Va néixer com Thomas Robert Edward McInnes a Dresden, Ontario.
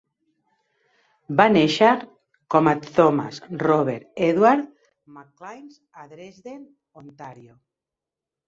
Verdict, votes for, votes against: rejected, 0, 2